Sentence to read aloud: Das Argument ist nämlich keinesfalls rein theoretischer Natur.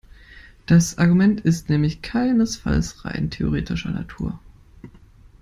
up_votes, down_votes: 2, 0